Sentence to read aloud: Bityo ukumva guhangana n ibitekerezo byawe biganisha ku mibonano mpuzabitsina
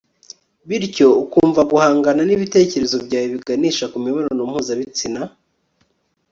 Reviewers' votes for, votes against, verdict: 3, 0, accepted